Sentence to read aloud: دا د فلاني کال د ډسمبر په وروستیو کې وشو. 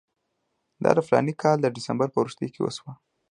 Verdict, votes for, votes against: accepted, 2, 0